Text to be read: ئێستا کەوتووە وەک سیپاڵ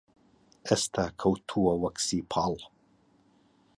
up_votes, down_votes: 2, 0